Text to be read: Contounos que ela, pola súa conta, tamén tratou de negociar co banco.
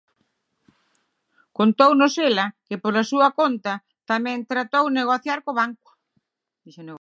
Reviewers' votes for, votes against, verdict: 0, 9, rejected